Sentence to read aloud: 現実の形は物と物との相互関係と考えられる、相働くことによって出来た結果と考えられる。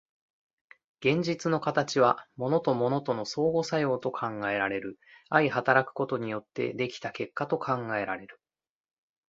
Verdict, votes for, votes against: rejected, 0, 2